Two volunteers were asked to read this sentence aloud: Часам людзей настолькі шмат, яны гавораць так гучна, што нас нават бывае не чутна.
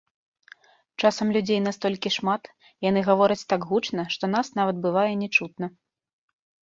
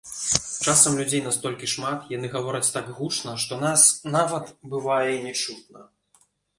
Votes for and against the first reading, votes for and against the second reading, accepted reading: 2, 0, 0, 2, first